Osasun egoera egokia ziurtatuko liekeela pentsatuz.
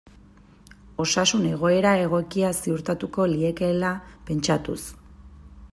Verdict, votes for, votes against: accepted, 2, 0